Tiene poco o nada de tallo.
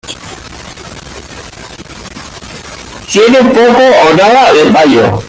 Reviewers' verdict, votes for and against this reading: rejected, 1, 2